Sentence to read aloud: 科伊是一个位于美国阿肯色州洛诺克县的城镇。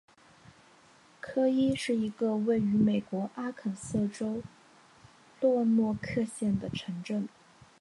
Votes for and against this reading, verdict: 2, 0, accepted